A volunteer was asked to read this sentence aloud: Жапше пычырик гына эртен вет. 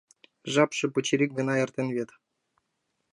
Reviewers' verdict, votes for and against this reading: accepted, 2, 0